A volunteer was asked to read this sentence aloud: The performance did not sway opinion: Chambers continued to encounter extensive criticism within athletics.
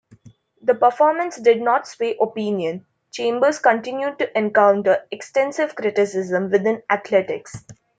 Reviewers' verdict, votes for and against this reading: accepted, 2, 0